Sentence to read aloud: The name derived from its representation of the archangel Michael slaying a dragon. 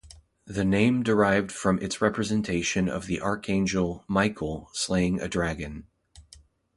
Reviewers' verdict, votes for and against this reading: accepted, 2, 0